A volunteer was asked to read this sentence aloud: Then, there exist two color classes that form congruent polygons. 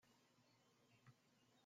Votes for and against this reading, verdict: 0, 2, rejected